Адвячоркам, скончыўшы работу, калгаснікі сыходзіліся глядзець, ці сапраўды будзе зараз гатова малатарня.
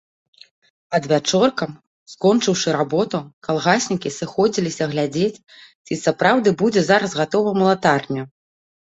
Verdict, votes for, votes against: rejected, 0, 2